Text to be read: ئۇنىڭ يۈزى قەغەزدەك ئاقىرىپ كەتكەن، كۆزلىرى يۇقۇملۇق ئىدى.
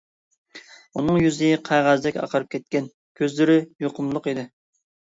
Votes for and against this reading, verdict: 2, 0, accepted